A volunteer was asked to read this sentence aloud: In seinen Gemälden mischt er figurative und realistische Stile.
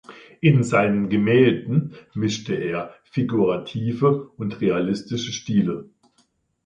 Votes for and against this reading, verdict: 1, 2, rejected